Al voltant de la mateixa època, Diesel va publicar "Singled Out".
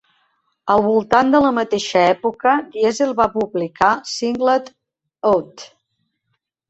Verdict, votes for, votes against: accepted, 2, 0